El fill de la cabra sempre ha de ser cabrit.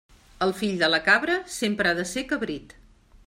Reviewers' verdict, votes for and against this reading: accepted, 3, 0